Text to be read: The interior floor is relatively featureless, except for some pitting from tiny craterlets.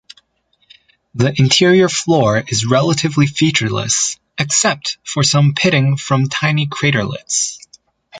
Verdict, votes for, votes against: accepted, 2, 0